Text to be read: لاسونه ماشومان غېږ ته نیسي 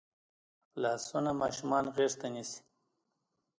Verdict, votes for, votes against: rejected, 0, 2